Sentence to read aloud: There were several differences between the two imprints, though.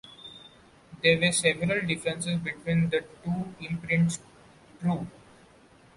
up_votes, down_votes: 0, 2